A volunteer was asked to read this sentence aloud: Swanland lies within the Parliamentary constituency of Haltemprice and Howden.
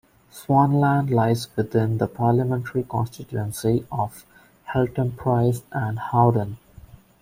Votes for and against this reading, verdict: 2, 0, accepted